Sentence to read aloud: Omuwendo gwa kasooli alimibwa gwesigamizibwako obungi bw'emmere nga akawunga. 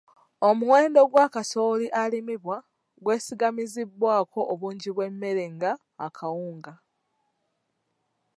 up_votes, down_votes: 2, 0